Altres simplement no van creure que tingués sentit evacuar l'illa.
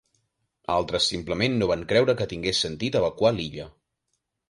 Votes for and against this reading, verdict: 2, 0, accepted